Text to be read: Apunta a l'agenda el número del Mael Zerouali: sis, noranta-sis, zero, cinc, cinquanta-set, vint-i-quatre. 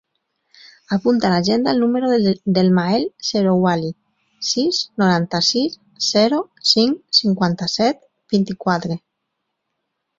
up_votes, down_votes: 0, 4